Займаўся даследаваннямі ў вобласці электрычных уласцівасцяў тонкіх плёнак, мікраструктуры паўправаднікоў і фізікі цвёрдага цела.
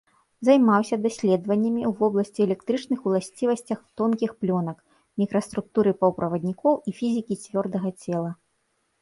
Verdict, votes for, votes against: rejected, 0, 2